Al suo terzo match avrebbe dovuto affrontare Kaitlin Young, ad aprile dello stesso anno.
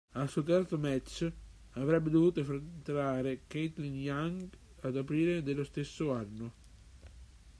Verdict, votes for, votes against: rejected, 0, 2